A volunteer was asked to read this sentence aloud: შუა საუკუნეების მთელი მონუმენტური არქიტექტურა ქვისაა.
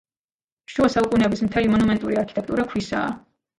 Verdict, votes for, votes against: accepted, 2, 1